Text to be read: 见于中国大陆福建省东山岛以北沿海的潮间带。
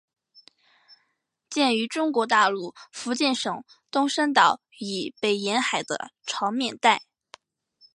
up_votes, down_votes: 0, 2